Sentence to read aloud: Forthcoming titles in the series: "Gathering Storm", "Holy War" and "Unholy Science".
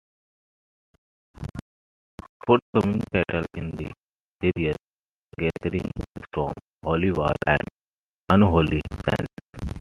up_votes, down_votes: 0, 2